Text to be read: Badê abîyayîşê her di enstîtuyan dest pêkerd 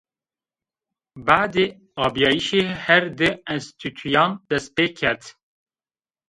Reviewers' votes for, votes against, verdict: 1, 2, rejected